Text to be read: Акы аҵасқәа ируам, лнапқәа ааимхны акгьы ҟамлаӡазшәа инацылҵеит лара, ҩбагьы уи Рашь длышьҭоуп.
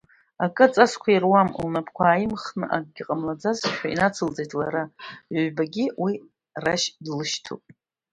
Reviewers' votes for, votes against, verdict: 1, 2, rejected